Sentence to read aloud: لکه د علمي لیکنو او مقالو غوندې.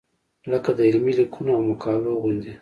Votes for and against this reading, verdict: 1, 2, rejected